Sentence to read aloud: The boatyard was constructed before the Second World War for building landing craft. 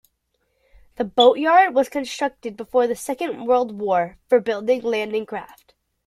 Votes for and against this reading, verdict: 2, 0, accepted